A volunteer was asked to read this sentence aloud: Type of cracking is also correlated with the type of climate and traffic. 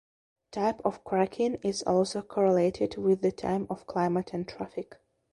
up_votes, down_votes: 2, 1